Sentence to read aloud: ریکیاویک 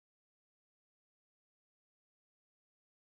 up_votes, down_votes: 0, 2